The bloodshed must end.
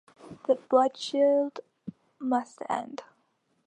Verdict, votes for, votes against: accepted, 2, 0